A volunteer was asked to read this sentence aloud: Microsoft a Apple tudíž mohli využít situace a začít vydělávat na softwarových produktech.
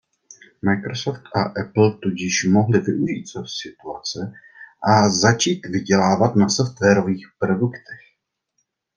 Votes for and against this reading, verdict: 1, 2, rejected